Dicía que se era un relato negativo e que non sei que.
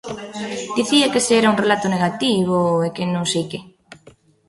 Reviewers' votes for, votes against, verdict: 1, 2, rejected